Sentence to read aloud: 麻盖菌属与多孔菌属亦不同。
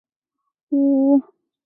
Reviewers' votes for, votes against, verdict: 0, 4, rejected